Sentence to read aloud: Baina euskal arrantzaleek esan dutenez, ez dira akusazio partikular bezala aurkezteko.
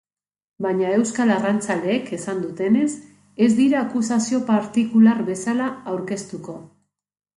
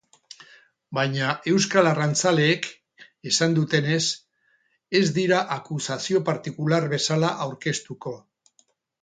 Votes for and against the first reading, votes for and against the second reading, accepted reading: 3, 2, 0, 2, first